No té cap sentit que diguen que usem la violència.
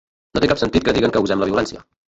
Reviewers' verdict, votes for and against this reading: rejected, 0, 2